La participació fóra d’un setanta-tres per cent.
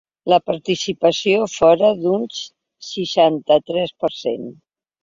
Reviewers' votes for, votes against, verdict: 1, 2, rejected